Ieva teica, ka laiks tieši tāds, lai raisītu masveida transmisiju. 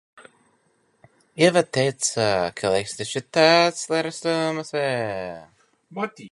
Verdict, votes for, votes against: rejected, 0, 2